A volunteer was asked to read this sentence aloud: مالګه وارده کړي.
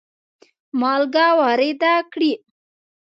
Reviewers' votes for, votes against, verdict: 2, 0, accepted